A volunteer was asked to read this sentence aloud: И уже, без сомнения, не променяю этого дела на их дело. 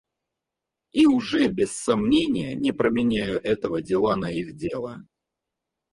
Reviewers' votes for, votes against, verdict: 0, 4, rejected